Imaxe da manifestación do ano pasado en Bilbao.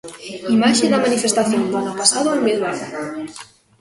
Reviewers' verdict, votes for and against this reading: accepted, 2, 1